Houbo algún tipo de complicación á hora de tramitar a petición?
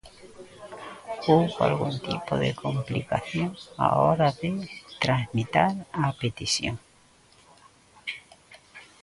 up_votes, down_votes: 0, 2